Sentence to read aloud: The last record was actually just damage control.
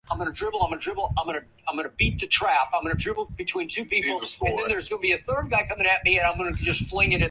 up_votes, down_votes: 0, 2